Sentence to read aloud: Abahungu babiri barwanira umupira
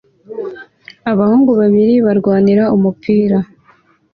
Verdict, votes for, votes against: accepted, 2, 0